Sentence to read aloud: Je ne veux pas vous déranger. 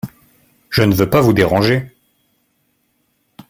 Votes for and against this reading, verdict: 2, 1, accepted